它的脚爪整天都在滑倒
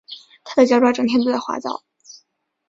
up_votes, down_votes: 2, 0